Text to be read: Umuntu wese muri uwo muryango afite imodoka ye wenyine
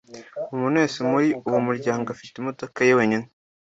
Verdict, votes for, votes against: accepted, 2, 0